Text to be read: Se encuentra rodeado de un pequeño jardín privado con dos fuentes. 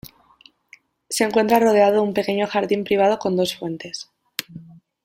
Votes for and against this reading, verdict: 3, 0, accepted